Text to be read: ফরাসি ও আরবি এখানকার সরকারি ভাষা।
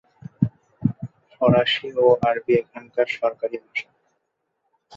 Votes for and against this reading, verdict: 2, 0, accepted